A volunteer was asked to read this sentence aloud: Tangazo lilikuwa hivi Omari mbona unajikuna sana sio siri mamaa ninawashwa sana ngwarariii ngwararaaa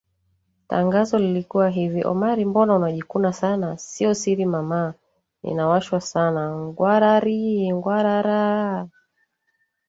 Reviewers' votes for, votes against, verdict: 0, 2, rejected